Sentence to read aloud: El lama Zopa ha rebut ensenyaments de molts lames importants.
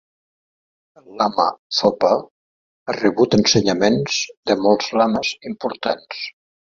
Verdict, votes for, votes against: rejected, 1, 2